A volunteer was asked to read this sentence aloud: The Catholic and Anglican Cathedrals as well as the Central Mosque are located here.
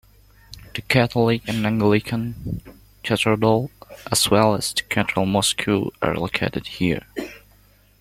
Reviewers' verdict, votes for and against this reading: rejected, 0, 2